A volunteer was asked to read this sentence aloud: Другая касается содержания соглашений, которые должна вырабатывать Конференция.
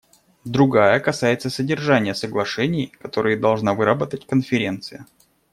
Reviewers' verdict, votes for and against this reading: rejected, 0, 2